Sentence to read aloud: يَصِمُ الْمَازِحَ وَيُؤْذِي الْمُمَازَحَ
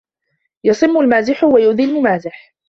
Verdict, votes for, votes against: accepted, 2, 0